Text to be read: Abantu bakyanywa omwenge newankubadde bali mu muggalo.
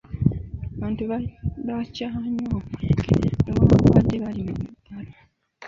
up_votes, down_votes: 0, 2